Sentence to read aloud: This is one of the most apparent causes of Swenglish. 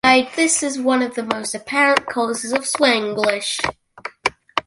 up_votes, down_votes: 1, 2